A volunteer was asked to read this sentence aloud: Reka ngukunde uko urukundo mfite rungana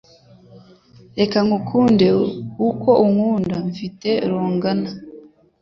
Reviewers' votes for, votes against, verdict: 1, 2, rejected